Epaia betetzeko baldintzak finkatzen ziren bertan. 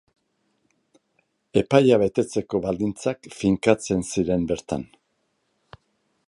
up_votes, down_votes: 2, 0